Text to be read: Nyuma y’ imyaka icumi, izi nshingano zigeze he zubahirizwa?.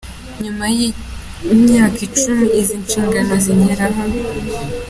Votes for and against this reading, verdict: 2, 0, accepted